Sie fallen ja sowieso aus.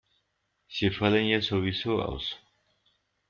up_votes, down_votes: 1, 2